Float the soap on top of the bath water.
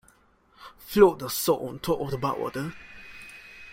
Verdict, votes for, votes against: rejected, 1, 2